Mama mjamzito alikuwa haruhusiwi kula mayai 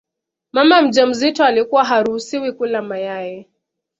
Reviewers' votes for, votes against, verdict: 2, 0, accepted